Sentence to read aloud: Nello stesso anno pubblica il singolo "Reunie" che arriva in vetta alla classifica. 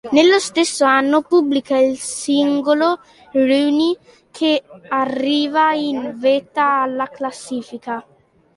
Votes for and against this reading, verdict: 2, 0, accepted